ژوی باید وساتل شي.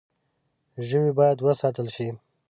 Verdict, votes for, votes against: accepted, 2, 0